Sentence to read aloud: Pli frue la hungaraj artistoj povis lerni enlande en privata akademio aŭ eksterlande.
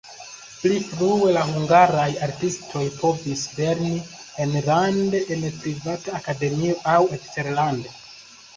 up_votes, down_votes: 2, 0